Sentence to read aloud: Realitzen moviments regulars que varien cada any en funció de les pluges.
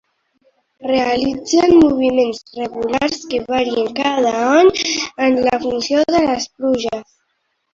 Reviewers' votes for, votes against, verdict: 0, 2, rejected